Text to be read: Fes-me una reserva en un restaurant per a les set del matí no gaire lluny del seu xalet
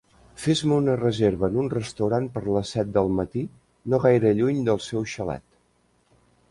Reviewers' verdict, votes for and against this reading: rejected, 1, 2